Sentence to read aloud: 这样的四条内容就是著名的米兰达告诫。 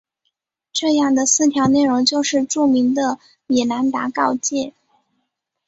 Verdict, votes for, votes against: accepted, 5, 0